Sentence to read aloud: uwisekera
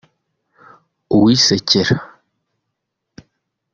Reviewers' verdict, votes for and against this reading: accepted, 2, 0